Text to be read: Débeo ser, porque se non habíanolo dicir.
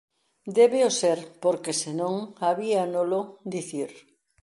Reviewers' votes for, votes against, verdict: 2, 0, accepted